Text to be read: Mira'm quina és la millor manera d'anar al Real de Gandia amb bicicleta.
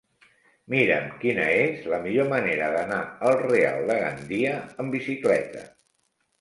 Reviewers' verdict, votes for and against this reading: accepted, 3, 0